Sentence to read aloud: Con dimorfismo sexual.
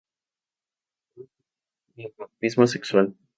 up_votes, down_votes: 0, 2